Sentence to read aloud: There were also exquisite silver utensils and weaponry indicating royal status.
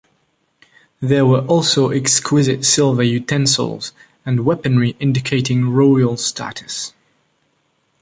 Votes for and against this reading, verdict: 2, 0, accepted